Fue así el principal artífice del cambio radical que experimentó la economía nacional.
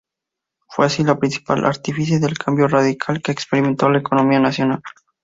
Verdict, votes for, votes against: rejected, 0, 2